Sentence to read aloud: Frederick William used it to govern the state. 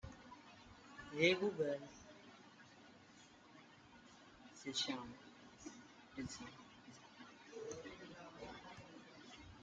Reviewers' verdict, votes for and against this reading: rejected, 0, 2